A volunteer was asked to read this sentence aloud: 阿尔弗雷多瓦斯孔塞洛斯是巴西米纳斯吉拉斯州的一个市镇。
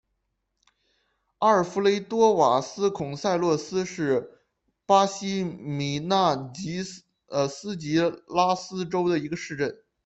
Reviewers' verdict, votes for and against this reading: rejected, 0, 2